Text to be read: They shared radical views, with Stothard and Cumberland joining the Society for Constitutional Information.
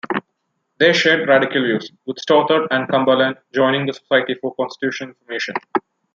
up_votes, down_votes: 1, 2